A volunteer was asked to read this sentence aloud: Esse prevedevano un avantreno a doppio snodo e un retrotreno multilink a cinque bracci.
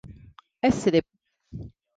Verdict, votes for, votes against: rejected, 0, 3